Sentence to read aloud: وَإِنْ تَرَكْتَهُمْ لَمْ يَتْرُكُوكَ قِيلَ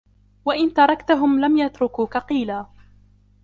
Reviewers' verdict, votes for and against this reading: accepted, 2, 0